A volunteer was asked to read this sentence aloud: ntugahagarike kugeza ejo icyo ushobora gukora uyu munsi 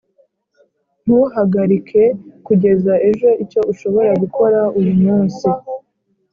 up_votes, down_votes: 2, 0